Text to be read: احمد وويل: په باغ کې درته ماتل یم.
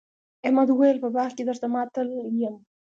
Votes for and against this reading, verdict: 2, 1, accepted